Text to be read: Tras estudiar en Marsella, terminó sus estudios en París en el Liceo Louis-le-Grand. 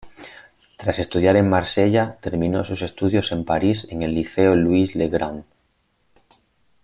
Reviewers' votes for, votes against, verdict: 5, 0, accepted